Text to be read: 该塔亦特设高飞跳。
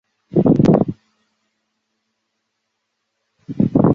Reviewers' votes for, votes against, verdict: 0, 2, rejected